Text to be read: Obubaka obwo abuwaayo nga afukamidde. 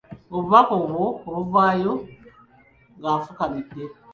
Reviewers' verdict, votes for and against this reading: rejected, 0, 2